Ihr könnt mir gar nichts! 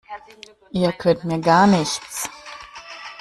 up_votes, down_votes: 0, 2